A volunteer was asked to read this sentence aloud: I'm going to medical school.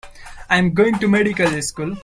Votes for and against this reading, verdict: 2, 1, accepted